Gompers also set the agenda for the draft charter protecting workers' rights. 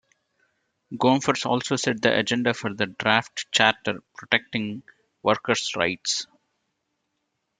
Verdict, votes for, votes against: accepted, 2, 0